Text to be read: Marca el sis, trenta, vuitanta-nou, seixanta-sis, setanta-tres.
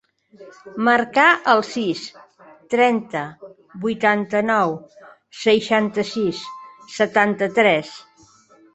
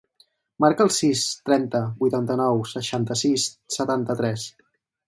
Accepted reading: second